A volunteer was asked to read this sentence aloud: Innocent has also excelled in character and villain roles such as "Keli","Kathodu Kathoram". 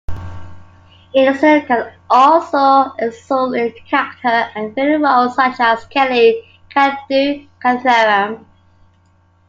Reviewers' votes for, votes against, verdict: 1, 2, rejected